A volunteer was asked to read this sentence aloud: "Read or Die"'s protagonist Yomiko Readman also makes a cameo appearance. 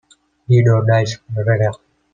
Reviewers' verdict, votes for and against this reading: rejected, 1, 2